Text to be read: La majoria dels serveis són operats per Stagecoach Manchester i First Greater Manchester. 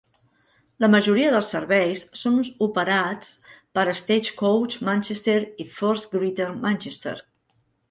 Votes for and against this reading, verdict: 1, 2, rejected